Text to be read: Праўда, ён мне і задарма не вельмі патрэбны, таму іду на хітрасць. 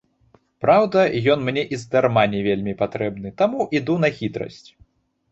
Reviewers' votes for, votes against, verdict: 1, 3, rejected